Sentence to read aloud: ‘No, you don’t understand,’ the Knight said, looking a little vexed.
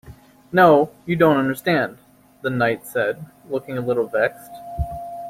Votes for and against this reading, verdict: 2, 0, accepted